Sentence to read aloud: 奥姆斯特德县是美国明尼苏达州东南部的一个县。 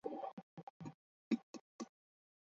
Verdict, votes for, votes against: rejected, 2, 4